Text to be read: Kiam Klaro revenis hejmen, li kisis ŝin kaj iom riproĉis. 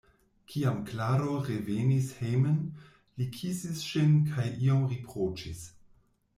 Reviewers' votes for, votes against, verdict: 2, 0, accepted